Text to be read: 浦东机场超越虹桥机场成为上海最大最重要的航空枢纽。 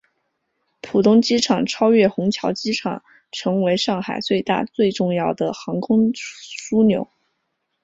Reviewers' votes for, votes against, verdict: 2, 1, accepted